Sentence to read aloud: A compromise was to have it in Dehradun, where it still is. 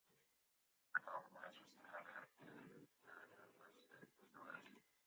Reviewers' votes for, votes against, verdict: 0, 2, rejected